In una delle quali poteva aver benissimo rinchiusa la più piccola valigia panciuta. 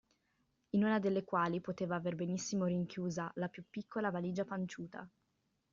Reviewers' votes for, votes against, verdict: 2, 0, accepted